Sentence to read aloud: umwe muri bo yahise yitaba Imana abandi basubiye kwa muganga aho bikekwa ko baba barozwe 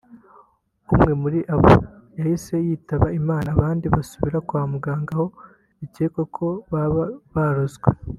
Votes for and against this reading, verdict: 0, 2, rejected